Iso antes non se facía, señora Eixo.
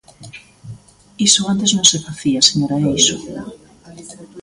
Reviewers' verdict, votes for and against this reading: accepted, 2, 0